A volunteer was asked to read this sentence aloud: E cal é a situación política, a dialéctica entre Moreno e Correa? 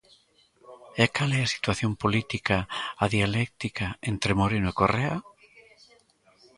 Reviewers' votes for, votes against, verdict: 1, 2, rejected